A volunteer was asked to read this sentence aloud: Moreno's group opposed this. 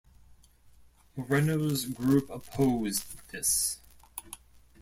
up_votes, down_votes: 1, 2